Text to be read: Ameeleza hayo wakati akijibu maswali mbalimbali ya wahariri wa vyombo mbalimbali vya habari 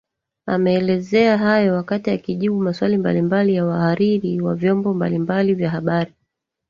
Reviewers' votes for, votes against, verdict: 1, 2, rejected